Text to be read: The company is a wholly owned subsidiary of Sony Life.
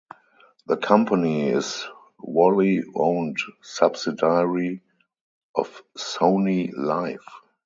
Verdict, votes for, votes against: rejected, 2, 2